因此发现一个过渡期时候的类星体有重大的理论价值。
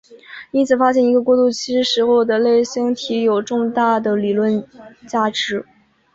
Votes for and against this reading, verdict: 0, 3, rejected